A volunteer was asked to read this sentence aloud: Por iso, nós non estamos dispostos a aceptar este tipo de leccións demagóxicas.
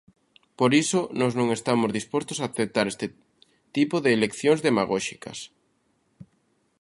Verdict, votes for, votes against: accepted, 2, 0